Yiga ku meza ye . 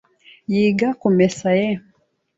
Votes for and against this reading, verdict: 0, 2, rejected